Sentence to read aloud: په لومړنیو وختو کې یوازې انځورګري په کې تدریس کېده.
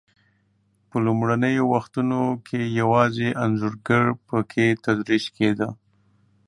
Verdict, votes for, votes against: rejected, 2, 3